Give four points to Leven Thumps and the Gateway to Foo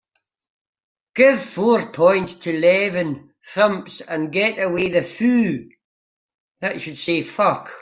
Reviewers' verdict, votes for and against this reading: rejected, 0, 3